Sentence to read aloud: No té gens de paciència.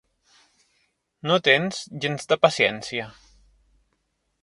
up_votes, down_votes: 0, 2